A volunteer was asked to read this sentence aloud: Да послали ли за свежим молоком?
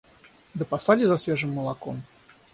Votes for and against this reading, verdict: 0, 6, rejected